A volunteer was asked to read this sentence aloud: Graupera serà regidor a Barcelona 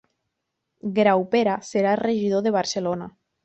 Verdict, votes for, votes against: rejected, 1, 2